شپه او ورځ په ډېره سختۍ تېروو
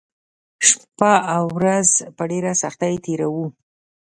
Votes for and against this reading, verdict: 2, 0, accepted